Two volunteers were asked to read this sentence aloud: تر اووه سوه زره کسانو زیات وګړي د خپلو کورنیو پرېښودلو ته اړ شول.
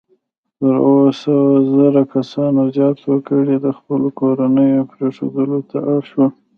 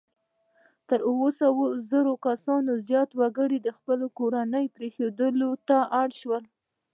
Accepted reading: second